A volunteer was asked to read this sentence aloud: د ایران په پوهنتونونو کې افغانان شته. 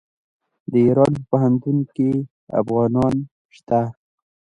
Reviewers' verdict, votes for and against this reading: rejected, 1, 2